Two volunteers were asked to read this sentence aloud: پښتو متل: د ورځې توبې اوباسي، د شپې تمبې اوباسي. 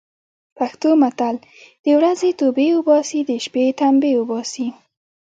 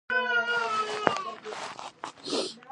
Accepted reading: first